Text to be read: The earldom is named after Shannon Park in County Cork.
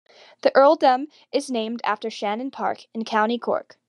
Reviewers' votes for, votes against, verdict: 2, 0, accepted